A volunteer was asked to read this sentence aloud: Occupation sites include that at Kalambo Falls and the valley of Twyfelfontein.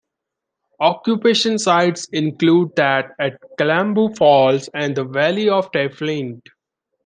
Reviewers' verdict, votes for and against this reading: rejected, 1, 2